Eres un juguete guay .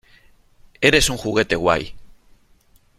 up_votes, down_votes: 3, 0